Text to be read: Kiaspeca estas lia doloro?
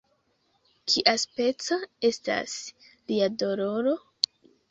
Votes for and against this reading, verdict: 1, 2, rejected